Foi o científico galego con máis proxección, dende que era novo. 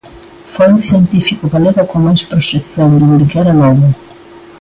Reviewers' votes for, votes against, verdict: 0, 2, rejected